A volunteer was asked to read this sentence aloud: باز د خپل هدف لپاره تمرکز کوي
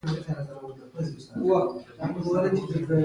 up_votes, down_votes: 2, 0